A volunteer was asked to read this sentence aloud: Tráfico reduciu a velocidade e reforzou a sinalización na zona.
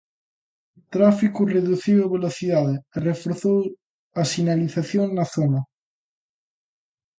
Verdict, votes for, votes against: accepted, 2, 0